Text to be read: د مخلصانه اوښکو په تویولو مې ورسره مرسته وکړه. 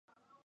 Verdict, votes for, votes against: rejected, 1, 2